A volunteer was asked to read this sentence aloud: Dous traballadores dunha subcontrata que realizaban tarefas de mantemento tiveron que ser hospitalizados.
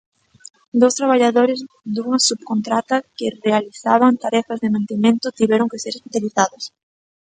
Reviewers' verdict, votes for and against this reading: accepted, 2, 0